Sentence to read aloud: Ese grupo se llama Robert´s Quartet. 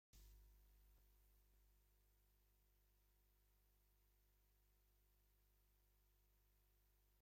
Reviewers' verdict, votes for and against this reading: rejected, 0, 2